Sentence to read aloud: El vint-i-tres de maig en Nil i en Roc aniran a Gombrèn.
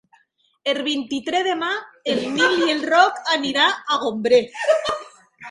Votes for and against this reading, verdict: 0, 2, rejected